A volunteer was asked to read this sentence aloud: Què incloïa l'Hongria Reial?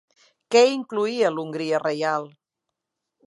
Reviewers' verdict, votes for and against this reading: accepted, 3, 0